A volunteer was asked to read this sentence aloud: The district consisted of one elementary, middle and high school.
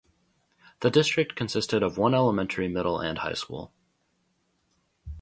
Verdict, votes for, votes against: rejected, 0, 2